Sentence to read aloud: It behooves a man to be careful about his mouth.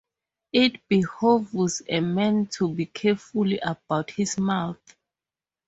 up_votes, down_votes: 2, 0